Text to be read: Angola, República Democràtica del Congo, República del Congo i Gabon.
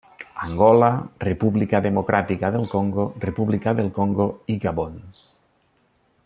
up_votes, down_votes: 1, 2